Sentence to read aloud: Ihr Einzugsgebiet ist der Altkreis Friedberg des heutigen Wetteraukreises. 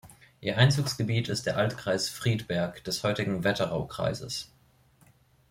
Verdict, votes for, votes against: accepted, 2, 0